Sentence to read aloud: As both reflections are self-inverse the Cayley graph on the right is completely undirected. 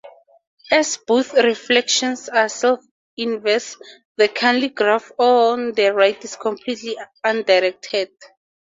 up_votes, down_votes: 4, 0